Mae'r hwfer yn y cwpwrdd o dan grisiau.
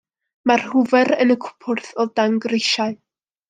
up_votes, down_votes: 2, 1